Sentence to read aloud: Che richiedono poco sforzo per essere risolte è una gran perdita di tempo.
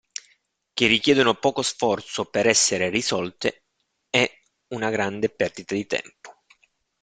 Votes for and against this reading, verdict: 0, 2, rejected